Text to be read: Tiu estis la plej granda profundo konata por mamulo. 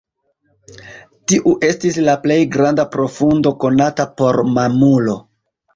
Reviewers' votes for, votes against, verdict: 2, 0, accepted